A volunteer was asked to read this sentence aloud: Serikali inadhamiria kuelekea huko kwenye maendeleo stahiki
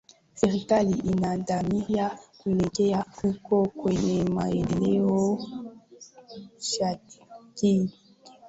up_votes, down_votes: 0, 2